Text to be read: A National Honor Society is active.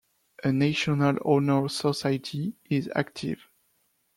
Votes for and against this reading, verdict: 2, 1, accepted